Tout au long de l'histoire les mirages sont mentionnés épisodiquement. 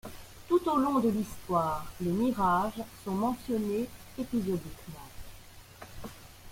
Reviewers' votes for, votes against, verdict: 2, 0, accepted